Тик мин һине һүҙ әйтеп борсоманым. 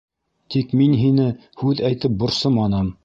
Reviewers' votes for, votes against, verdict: 0, 2, rejected